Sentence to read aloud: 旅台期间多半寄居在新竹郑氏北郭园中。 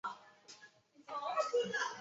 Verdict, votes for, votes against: rejected, 0, 4